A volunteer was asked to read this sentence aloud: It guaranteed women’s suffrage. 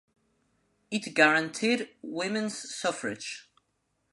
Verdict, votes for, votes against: accepted, 2, 0